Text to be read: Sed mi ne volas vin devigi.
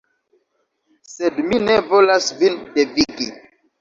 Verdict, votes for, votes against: accepted, 2, 0